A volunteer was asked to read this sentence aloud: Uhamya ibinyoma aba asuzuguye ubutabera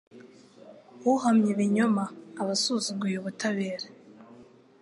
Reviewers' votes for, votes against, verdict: 2, 0, accepted